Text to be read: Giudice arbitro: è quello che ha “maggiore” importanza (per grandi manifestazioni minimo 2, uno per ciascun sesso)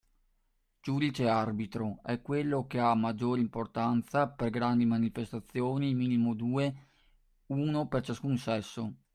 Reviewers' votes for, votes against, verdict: 0, 2, rejected